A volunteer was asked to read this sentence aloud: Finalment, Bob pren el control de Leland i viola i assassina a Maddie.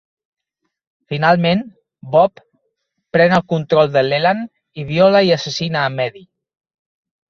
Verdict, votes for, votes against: accepted, 2, 0